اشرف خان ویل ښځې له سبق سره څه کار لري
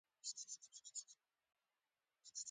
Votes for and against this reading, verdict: 0, 2, rejected